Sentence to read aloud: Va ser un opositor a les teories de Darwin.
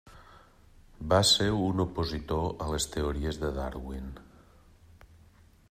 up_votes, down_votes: 3, 0